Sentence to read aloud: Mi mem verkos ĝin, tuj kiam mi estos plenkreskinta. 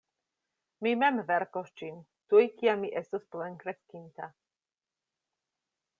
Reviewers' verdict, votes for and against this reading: accepted, 2, 0